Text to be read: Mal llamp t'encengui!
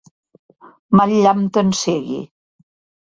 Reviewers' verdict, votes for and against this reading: rejected, 0, 2